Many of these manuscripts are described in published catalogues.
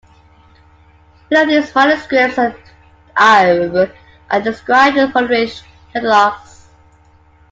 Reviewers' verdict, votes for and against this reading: rejected, 1, 2